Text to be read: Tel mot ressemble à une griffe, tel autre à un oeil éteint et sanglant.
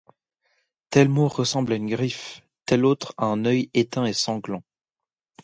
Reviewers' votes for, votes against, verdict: 2, 0, accepted